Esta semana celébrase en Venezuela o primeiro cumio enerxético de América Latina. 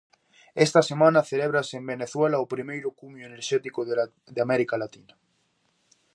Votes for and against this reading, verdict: 0, 2, rejected